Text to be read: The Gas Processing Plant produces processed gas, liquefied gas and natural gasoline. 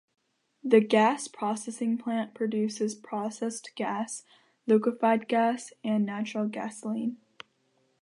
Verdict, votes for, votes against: accepted, 2, 0